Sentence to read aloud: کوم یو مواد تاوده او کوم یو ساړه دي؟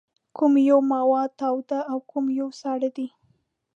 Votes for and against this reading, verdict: 2, 0, accepted